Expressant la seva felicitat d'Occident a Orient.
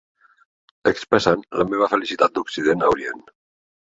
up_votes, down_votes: 1, 2